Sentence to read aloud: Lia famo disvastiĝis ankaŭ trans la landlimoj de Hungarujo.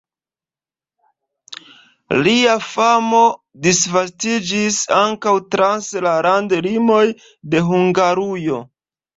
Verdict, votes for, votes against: accepted, 2, 0